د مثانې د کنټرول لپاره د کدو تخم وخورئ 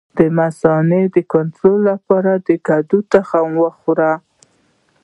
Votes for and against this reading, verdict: 0, 2, rejected